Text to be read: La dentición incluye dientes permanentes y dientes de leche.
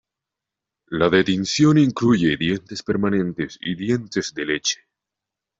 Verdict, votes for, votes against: accepted, 2, 1